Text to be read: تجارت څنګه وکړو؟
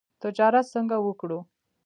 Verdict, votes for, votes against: rejected, 0, 2